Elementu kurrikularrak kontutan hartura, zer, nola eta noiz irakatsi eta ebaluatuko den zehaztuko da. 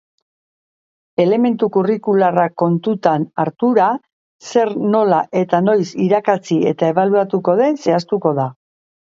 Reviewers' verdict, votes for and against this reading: accepted, 3, 0